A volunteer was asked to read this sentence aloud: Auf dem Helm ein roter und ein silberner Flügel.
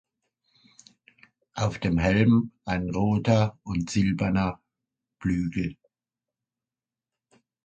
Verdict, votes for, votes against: rejected, 0, 2